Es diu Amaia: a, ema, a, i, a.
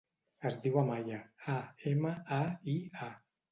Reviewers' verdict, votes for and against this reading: rejected, 1, 2